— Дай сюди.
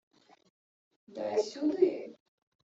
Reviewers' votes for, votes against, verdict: 1, 2, rejected